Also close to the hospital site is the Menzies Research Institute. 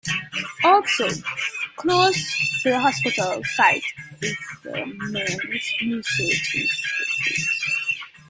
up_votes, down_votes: 0, 2